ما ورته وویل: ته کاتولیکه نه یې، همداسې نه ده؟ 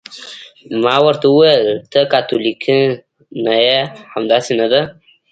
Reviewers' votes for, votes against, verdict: 0, 2, rejected